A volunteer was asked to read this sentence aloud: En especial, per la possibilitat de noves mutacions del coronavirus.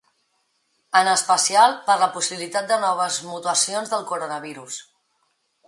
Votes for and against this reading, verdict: 1, 2, rejected